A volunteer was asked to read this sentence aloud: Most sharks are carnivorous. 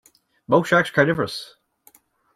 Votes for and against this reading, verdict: 1, 2, rejected